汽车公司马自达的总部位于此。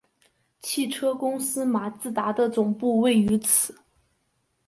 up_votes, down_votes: 2, 0